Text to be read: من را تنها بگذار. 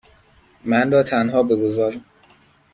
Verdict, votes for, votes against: accepted, 2, 0